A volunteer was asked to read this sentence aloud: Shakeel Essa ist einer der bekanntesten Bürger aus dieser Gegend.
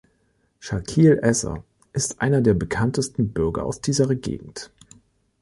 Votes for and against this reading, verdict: 1, 2, rejected